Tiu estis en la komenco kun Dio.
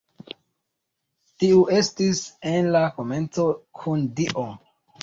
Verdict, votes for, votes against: accepted, 2, 0